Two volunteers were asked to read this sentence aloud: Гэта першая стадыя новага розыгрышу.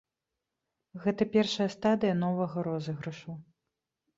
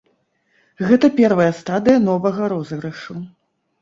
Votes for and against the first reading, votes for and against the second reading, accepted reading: 2, 0, 0, 2, first